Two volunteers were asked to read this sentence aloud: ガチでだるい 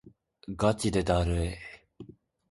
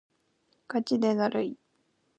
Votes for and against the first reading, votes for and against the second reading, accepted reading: 2, 0, 1, 2, first